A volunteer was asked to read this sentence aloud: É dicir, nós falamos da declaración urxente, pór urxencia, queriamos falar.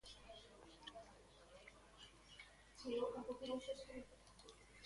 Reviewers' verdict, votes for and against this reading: rejected, 0, 2